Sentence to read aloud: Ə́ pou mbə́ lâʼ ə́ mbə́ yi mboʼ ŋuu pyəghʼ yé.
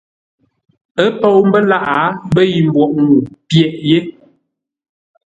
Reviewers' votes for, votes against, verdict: 2, 0, accepted